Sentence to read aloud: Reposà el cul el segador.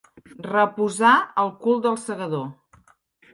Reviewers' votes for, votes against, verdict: 1, 2, rejected